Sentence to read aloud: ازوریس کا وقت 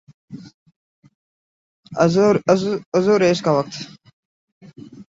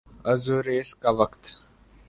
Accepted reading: second